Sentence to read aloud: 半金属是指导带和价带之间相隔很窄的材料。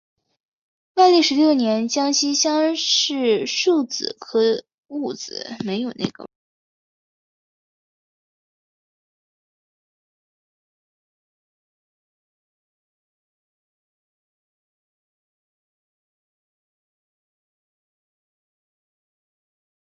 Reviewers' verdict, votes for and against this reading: rejected, 0, 2